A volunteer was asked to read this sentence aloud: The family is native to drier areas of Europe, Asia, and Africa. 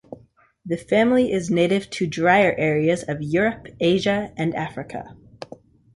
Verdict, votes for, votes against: accepted, 2, 0